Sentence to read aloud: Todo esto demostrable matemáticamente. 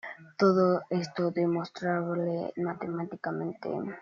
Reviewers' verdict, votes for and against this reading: accepted, 2, 0